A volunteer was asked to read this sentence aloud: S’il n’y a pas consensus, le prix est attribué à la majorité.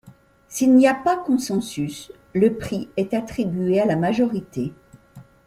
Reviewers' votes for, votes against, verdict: 2, 0, accepted